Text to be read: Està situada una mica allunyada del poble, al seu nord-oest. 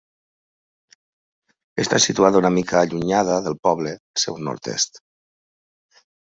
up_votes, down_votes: 0, 2